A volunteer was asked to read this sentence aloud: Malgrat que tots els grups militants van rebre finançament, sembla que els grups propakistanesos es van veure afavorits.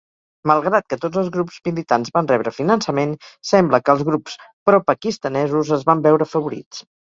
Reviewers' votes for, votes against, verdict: 4, 0, accepted